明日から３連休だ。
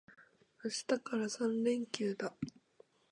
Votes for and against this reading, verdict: 0, 2, rejected